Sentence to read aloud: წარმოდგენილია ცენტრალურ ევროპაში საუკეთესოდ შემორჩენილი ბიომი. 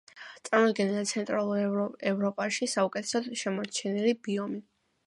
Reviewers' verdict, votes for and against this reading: accepted, 2, 0